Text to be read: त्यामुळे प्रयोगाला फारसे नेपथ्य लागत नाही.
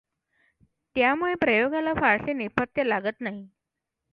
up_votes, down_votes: 2, 0